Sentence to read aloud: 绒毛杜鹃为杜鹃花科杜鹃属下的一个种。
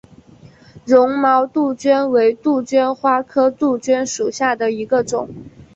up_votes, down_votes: 6, 1